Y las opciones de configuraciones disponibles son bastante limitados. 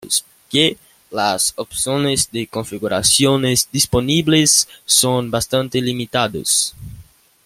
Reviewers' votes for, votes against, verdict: 0, 3, rejected